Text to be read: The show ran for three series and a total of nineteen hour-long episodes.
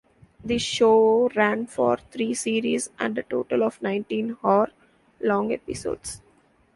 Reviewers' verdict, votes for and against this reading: accepted, 2, 1